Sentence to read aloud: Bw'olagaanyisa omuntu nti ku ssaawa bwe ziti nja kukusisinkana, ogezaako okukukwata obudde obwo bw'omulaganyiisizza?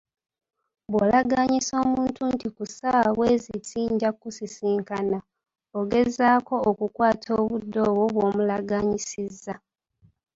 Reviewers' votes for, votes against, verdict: 2, 0, accepted